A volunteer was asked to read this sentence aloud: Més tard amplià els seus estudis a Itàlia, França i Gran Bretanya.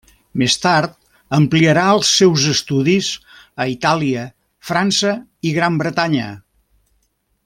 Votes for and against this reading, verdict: 0, 2, rejected